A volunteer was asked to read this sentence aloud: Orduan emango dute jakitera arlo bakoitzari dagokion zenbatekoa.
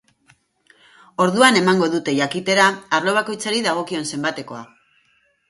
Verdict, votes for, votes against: accepted, 4, 0